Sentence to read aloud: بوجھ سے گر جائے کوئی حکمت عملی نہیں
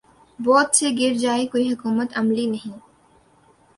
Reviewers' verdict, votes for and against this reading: accepted, 2, 1